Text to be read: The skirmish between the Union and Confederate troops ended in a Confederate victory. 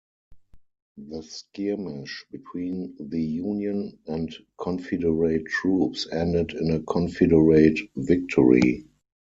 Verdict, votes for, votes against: rejected, 0, 4